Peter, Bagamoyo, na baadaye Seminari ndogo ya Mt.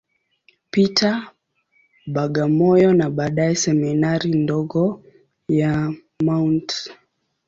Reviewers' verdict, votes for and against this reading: accepted, 2, 0